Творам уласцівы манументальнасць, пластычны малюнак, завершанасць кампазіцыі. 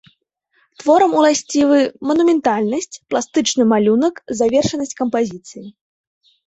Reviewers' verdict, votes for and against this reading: accepted, 2, 0